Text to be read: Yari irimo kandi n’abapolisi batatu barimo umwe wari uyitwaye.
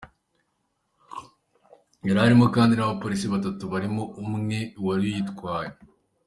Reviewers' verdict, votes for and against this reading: rejected, 0, 2